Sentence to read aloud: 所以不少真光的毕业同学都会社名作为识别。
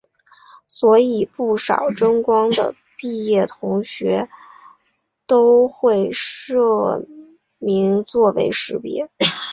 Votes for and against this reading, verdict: 2, 0, accepted